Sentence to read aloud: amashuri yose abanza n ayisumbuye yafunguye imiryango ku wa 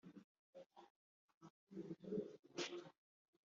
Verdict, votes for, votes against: rejected, 0, 2